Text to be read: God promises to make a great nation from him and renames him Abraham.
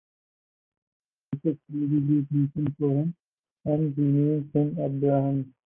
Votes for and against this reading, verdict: 0, 4, rejected